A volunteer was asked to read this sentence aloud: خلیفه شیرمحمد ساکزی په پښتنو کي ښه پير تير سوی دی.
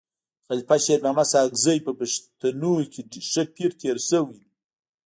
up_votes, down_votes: 1, 2